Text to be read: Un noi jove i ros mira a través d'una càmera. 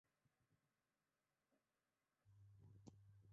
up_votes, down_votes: 1, 2